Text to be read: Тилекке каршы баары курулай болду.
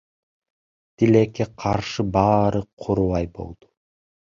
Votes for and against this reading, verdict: 2, 0, accepted